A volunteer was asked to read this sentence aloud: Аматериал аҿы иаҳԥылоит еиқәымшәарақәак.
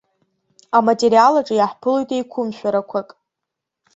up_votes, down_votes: 2, 0